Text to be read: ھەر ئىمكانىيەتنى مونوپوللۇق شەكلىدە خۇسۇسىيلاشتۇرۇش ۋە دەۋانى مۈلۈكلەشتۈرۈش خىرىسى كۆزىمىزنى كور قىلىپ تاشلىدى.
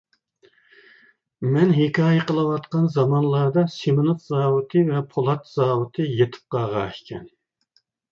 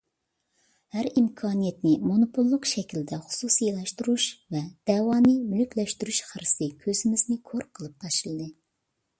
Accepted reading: second